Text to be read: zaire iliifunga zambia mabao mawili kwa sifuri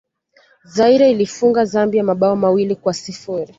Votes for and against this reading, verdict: 1, 2, rejected